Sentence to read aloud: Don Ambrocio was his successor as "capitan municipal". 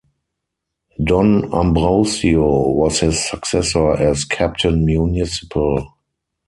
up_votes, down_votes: 0, 4